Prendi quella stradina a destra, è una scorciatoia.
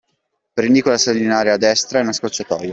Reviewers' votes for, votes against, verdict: 0, 2, rejected